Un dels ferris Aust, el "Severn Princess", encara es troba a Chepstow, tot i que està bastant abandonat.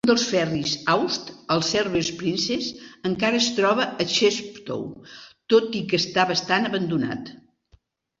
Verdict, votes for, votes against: rejected, 2, 3